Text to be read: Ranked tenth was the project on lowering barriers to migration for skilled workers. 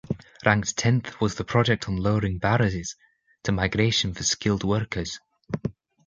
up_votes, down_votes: 1, 2